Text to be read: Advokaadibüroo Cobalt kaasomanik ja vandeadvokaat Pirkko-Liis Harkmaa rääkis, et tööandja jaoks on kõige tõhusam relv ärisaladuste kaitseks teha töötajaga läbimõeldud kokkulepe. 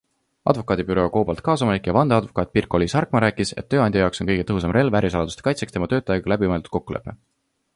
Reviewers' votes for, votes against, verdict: 2, 1, accepted